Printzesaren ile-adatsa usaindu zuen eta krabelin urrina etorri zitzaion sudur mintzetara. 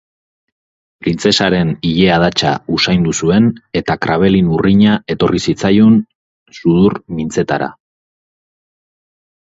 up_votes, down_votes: 2, 0